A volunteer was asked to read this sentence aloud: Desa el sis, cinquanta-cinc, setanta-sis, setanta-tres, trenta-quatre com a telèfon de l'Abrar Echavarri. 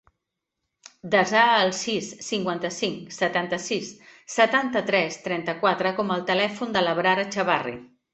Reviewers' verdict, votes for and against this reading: rejected, 0, 2